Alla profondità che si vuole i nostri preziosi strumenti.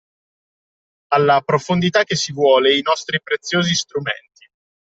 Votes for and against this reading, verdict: 2, 0, accepted